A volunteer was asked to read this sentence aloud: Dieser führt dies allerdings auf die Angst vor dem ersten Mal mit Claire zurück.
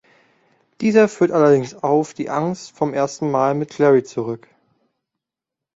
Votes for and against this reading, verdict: 0, 2, rejected